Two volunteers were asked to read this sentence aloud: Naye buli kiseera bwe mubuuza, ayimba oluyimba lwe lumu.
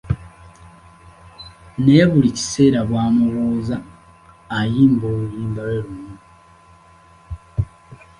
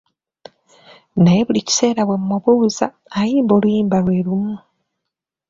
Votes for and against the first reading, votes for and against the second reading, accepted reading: 0, 2, 2, 0, second